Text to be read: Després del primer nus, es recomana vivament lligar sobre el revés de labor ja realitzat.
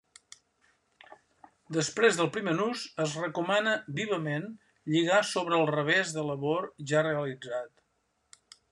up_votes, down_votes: 3, 0